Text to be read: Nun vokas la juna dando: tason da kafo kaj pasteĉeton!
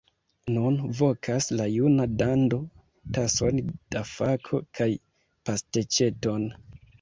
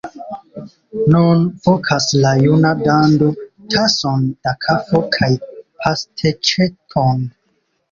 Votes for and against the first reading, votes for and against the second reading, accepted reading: 0, 2, 2, 1, second